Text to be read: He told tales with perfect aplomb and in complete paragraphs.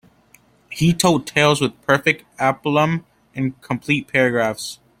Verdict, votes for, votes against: rejected, 1, 2